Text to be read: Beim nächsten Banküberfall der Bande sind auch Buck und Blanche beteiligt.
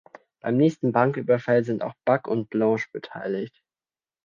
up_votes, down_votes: 0, 2